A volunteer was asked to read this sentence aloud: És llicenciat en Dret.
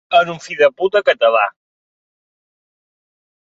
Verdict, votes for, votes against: rejected, 1, 2